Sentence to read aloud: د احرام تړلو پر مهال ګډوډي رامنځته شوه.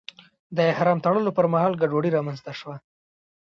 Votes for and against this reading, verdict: 2, 0, accepted